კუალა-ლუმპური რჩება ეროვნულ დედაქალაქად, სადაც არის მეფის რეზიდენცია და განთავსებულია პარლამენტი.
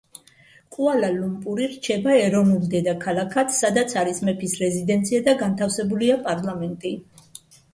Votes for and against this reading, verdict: 2, 0, accepted